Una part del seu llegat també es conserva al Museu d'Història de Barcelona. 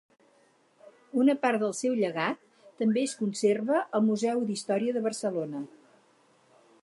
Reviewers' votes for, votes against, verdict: 4, 0, accepted